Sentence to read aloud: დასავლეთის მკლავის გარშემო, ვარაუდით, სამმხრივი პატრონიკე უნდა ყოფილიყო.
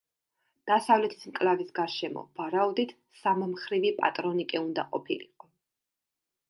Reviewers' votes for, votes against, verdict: 2, 0, accepted